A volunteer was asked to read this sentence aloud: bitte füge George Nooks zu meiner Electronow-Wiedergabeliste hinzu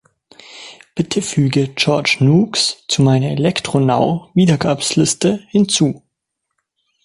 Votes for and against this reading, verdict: 1, 2, rejected